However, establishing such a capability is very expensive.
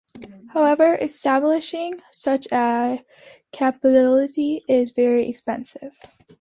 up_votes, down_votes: 1, 2